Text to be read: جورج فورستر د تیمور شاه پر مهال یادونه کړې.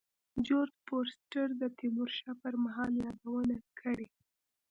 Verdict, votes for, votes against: accepted, 2, 0